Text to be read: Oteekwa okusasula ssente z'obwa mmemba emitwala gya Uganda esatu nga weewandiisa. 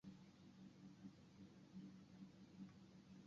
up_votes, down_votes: 0, 2